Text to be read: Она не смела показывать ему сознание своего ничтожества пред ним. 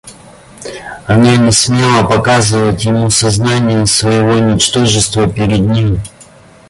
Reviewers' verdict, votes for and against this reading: rejected, 0, 2